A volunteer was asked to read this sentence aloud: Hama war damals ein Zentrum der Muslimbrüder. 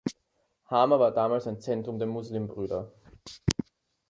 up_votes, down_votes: 2, 0